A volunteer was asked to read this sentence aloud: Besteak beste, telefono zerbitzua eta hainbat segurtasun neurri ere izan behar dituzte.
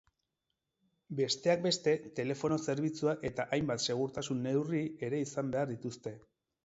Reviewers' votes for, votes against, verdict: 4, 0, accepted